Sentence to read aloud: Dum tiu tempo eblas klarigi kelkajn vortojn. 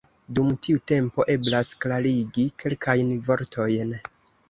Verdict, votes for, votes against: accepted, 2, 0